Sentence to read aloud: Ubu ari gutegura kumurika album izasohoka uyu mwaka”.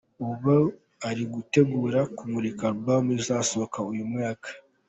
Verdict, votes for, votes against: accepted, 4, 0